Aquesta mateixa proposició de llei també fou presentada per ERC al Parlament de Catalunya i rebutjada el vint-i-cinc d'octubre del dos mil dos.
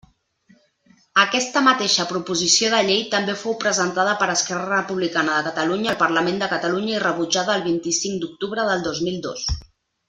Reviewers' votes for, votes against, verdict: 0, 2, rejected